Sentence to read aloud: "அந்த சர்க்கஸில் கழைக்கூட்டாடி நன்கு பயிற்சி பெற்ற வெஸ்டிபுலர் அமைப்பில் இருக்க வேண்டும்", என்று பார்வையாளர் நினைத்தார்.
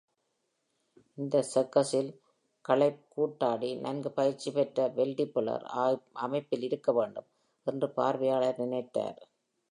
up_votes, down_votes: 1, 2